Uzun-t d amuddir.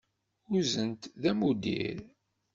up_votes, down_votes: 0, 2